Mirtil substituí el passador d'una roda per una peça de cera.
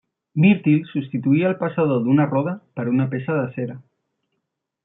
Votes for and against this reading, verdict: 2, 0, accepted